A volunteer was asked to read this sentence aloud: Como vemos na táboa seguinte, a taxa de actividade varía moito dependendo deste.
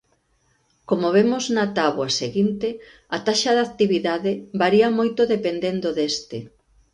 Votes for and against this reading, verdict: 2, 0, accepted